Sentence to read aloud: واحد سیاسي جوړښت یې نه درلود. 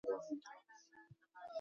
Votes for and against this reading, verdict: 0, 2, rejected